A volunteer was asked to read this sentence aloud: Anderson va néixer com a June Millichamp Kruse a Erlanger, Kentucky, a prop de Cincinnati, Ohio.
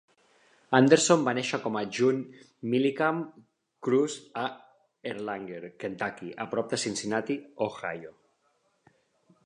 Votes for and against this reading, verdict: 2, 0, accepted